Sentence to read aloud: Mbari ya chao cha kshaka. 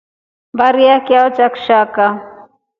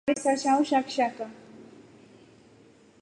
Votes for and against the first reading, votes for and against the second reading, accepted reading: 3, 0, 1, 2, first